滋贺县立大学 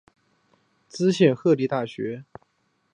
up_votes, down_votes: 4, 3